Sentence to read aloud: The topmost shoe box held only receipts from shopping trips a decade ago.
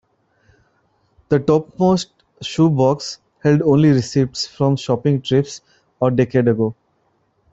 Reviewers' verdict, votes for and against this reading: accepted, 2, 0